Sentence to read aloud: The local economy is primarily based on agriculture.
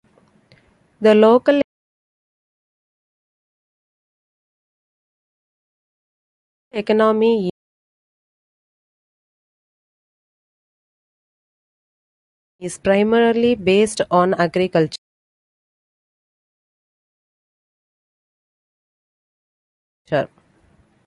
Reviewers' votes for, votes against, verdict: 0, 2, rejected